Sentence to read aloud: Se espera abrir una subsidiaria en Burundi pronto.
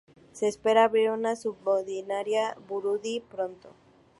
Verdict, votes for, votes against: rejected, 0, 2